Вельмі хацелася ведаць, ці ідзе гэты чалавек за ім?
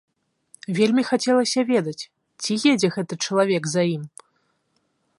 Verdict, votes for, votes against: rejected, 0, 2